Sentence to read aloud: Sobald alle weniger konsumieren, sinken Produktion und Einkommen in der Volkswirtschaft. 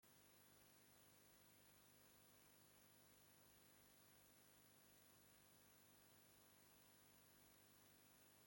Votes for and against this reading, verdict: 0, 2, rejected